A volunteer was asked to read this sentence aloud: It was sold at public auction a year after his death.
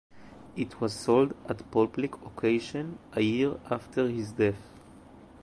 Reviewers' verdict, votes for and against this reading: rejected, 0, 2